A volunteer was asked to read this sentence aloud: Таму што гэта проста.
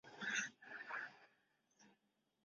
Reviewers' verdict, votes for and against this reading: rejected, 0, 2